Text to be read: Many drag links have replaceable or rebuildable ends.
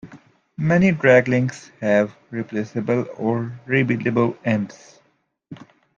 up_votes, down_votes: 2, 0